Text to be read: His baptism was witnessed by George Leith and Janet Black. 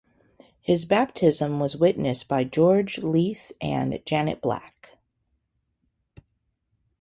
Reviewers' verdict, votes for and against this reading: rejected, 0, 2